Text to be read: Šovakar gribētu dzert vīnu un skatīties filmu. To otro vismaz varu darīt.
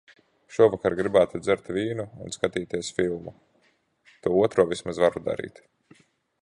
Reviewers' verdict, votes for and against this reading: accepted, 2, 0